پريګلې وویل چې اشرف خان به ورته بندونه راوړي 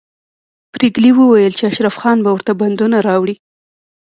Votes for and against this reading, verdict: 2, 0, accepted